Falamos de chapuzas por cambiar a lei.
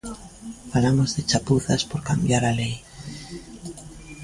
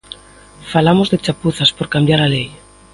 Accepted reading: second